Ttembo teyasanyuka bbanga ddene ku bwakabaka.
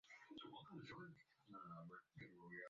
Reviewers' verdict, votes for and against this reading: rejected, 0, 2